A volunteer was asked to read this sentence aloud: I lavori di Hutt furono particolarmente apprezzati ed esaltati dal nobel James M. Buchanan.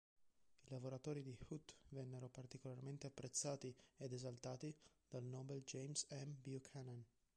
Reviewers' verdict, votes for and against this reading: rejected, 1, 2